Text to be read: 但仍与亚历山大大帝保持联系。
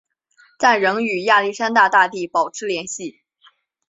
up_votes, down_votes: 2, 0